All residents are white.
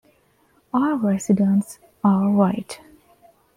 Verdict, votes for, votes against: accepted, 2, 0